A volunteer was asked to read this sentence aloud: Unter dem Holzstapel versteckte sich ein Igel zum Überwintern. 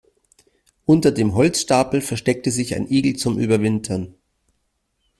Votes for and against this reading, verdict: 2, 1, accepted